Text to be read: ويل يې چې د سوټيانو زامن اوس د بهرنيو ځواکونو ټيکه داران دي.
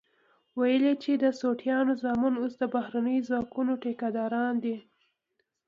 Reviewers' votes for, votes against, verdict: 2, 0, accepted